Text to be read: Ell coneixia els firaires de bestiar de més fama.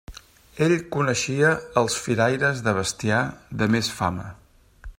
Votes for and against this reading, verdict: 3, 0, accepted